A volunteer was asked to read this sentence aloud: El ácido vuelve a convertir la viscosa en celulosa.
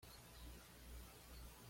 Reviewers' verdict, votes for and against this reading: rejected, 1, 2